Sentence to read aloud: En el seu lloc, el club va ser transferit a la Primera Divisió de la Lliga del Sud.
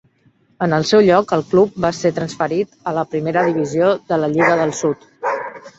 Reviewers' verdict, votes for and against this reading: accepted, 3, 0